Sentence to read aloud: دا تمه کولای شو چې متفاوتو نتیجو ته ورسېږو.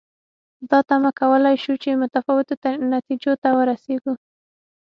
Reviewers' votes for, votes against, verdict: 6, 0, accepted